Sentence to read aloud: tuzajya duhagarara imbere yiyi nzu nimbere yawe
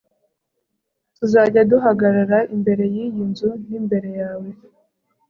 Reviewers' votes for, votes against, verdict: 2, 0, accepted